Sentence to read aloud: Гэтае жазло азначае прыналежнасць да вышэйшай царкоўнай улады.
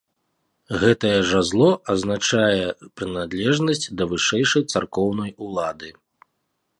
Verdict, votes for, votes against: rejected, 0, 2